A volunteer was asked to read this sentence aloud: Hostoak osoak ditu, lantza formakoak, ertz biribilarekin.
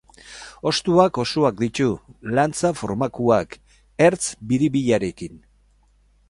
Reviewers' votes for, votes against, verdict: 0, 4, rejected